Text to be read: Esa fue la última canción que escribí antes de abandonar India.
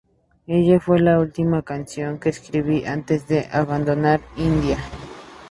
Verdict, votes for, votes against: rejected, 2, 4